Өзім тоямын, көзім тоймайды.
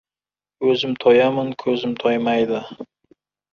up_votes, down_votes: 1, 2